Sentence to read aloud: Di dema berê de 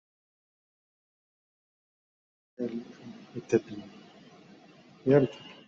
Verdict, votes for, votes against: rejected, 0, 2